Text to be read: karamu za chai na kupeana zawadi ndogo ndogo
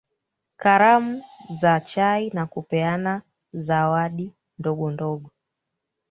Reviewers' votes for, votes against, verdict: 2, 3, rejected